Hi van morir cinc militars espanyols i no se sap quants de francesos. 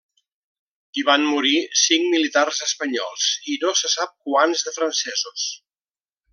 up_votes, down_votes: 3, 0